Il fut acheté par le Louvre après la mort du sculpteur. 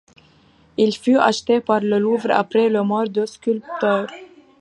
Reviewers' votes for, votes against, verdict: 0, 2, rejected